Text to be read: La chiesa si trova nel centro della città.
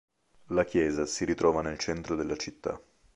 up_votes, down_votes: 1, 4